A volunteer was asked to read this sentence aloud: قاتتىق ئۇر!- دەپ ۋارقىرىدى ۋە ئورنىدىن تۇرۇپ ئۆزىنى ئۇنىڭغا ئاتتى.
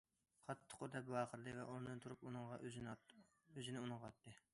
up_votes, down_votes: 0, 2